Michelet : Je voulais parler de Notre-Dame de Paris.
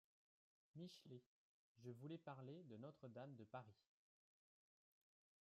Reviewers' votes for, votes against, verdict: 2, 3, rejected